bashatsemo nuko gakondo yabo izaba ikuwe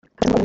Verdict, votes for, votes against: rejected, 0, 2